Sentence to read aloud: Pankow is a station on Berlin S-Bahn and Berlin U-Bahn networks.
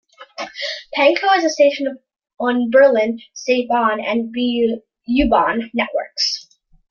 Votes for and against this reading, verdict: 0, 2, rejected